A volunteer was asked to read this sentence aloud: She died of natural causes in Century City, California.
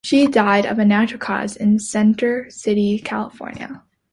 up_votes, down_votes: 0, 2